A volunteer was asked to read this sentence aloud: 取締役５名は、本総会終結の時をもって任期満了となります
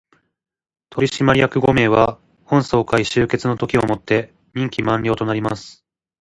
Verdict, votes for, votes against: rejected, 0, 2